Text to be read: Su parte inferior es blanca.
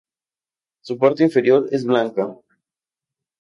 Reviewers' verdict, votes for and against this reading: accepted, 2, 0